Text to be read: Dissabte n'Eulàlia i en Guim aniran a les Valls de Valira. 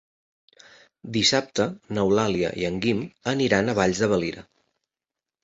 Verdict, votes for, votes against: rejected, 1, 2